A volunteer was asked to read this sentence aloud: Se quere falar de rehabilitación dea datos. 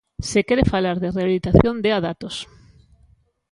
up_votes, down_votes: 2, 0